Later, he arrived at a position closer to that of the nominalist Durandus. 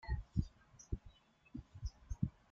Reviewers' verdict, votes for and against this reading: rejected, 0, 3